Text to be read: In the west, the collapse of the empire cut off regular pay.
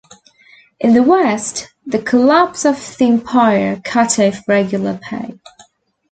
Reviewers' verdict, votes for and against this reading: accepted, 2, 1